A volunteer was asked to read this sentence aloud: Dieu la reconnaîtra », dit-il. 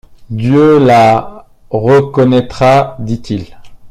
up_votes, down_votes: 2, 1